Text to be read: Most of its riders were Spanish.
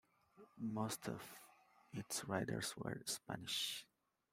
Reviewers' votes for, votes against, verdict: 2, 0, accepted